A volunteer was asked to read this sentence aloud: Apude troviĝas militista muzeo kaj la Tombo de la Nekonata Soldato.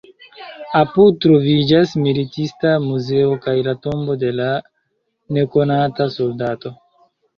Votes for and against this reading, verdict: 1, 2, rejected